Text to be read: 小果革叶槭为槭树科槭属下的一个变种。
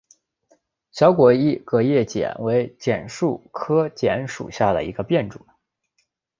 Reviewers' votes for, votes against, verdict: 0, 2, rejected